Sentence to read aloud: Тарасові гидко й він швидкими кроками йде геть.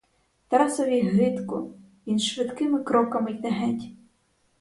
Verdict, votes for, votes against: rejected, 0, 4